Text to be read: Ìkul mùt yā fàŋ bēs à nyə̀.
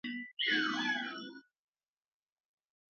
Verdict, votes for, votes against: rejected, 1, 2